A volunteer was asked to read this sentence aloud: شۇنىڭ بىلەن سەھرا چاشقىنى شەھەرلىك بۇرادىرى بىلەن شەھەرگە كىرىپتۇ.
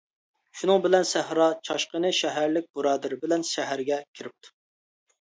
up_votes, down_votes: 2, 0